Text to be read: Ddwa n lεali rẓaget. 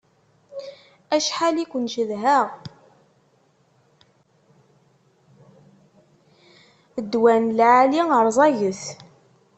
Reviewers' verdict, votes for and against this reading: rejected, 1, 2